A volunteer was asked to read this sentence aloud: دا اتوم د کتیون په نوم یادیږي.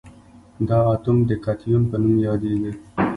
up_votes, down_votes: 1, 2